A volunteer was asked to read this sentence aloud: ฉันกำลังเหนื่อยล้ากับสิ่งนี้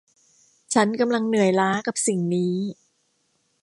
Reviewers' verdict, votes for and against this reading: accepted, 2, 0